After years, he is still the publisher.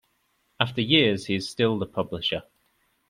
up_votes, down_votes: 2, 0